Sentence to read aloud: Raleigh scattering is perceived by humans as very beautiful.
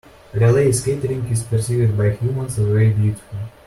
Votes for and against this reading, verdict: 1, 2, rejected